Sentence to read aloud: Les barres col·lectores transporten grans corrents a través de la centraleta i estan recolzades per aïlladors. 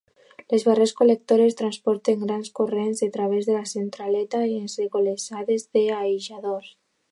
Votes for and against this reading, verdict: 0, 2, rejected